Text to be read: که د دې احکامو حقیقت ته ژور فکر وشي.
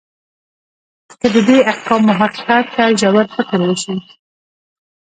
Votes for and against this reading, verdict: 1, 2, rejected